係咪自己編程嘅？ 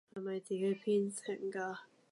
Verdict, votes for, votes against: rejected, 0, 2